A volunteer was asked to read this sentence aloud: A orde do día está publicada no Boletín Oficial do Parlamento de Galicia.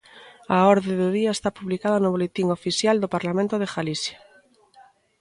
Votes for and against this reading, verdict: 0, 2, rejected